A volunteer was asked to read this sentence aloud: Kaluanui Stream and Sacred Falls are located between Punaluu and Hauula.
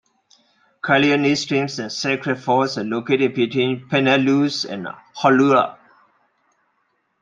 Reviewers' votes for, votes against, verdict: 2, 1, accepted